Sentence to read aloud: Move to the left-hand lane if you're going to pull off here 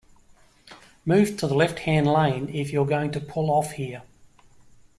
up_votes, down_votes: 2, 0